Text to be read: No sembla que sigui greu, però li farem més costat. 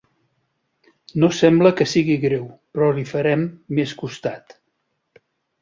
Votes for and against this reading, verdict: 3, 0, accepted